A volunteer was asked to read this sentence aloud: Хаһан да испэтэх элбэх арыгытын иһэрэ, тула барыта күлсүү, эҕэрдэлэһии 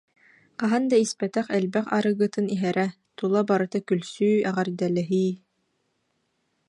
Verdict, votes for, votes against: accepted, 2, 0